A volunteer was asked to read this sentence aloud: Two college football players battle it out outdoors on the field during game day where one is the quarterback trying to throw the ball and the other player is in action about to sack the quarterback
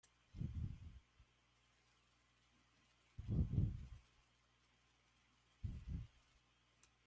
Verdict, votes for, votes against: rejected, 0, 2